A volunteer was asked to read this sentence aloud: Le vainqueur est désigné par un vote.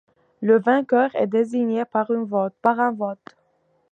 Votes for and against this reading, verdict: 1, 2, rejected